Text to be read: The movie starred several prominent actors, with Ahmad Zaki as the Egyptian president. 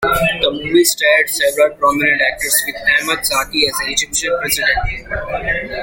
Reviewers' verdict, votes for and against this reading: rejected, 0, 2